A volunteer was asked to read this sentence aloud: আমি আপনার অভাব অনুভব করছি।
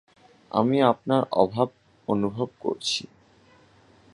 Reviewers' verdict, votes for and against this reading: accepted, 4, 0